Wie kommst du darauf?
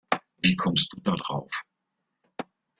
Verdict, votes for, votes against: rejected, 1, 2